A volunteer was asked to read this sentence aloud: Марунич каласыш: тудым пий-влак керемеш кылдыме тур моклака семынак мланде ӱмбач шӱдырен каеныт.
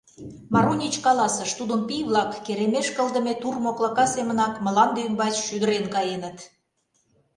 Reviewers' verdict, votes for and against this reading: accepted, 2, 0